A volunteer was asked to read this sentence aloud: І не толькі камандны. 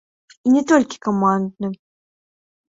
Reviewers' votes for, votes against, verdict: 0, 2, rejected